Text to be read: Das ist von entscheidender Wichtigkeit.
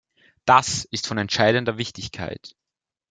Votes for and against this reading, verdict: 3, 0, accepted